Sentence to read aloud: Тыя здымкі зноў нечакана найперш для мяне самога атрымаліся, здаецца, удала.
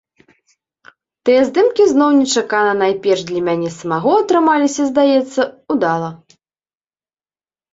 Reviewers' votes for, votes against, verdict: 0, 2, rejected